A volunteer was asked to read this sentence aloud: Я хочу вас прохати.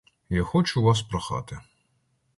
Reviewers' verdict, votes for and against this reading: accepted, 2, 0